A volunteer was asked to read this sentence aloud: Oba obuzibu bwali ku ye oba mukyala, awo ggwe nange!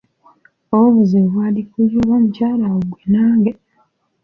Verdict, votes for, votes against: rejected, 1, 2